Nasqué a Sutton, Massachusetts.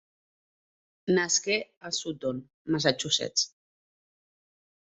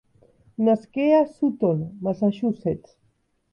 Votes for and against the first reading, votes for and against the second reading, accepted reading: 0, 2, 2, 0, second